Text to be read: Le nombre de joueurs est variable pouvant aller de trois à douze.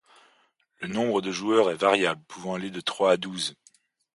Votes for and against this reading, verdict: 2, 0, accepted